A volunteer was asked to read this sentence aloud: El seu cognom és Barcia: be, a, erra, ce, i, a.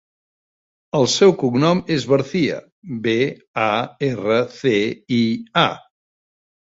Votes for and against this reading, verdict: 1, 2, rejected